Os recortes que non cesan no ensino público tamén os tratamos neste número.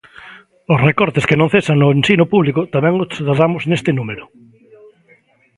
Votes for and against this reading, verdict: 0, 2, rejected